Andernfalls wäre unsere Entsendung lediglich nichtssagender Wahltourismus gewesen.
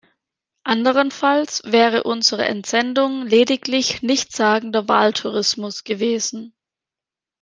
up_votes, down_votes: 1, 2